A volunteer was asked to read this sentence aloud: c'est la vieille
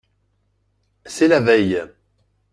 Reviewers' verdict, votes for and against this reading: rejected, 0, 2